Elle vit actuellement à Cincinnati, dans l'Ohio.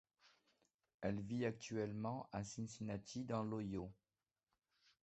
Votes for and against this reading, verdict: 1, 2, rejected